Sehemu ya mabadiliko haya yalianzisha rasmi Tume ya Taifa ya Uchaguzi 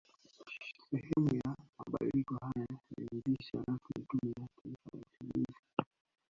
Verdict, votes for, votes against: rejected, 1, 2